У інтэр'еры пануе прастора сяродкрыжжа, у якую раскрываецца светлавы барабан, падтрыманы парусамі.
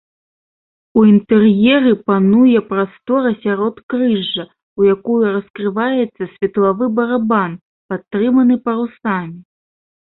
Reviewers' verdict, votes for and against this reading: rejected, 0, 2